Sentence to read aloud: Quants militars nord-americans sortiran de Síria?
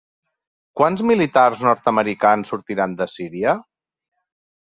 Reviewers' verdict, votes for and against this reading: accepted, 2, 0